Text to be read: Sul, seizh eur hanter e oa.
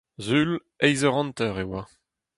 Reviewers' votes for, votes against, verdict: 2, 4, rejected